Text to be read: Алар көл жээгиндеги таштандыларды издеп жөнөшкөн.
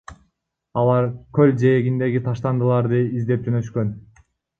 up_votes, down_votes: 1, 2